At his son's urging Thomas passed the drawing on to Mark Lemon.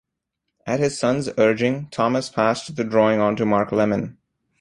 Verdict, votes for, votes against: accepted, 2, 0